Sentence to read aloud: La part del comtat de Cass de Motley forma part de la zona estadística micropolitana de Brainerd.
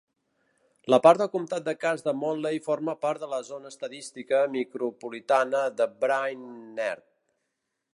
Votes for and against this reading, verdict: 1, 2, rejected